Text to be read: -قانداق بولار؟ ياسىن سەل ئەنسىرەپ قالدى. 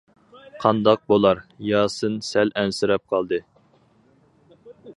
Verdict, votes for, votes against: accepted, 4, 0